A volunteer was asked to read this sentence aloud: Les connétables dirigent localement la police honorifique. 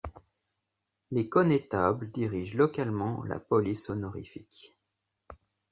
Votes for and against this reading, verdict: 3, 0, accepted